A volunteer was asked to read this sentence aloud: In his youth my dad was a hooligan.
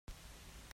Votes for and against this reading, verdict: 0, 2, rejected